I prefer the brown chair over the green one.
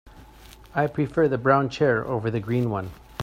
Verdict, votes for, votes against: accepted, 2, 0